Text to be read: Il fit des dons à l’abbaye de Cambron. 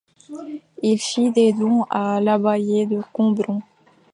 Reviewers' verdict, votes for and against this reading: rejected, 0, 2